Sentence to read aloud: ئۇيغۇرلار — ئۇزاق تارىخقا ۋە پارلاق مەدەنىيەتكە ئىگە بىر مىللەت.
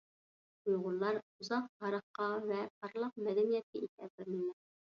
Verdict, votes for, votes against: rejected, 0, 2